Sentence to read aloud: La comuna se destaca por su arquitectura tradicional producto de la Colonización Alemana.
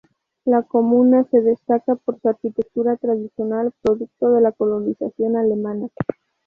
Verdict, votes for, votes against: accepted, 2, 0